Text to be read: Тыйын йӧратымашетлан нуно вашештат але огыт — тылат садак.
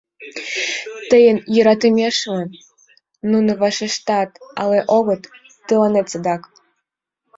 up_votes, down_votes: 0, 2